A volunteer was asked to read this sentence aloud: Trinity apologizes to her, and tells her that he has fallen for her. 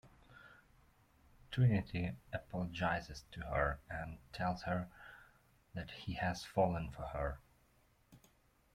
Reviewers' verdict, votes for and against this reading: accepted, 2, 0